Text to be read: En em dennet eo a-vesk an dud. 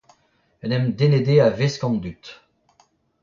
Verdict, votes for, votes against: rejected, 0, 2